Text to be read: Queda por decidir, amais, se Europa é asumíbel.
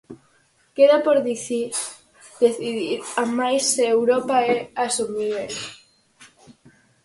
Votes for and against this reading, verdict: 0, 4, rejected